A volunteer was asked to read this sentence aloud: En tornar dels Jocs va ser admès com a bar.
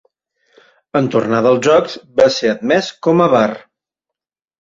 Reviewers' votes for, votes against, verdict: 2, 0, accepted